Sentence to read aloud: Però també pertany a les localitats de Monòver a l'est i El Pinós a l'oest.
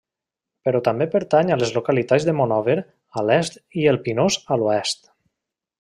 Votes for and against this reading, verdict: 3, 0, accepted